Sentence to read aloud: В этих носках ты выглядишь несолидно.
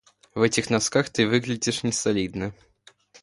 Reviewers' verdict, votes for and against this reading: accepted, 2, 0